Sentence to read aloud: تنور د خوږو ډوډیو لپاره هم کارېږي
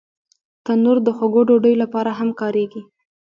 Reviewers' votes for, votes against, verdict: 1, 2, rejected